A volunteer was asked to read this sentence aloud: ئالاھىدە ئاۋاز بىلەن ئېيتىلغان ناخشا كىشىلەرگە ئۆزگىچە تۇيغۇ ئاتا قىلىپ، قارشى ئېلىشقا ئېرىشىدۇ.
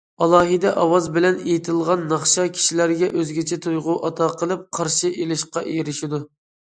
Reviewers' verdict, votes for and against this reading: accepted, 2, 0